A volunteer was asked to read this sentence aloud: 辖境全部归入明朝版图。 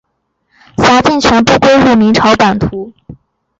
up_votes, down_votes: 2, 1